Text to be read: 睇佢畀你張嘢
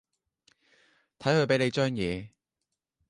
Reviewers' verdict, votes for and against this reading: accepted, 2, 0